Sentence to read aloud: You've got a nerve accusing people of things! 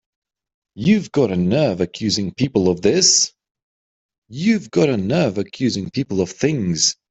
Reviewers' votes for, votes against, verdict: 0, 2, rejected